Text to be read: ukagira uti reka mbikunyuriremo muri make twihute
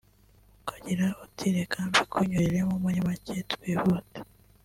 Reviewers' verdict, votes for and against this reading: rejected, 1, 2